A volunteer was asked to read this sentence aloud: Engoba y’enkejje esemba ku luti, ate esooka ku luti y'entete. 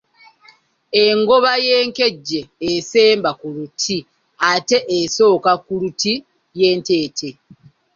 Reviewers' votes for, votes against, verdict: 1, 2, rejected